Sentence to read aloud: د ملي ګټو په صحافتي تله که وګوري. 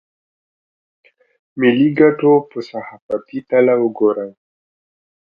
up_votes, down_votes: 1, 2